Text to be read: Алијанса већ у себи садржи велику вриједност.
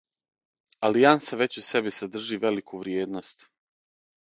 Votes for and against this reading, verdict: 6, 0, accepted